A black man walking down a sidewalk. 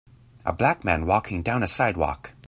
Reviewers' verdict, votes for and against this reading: accepted, 2, 0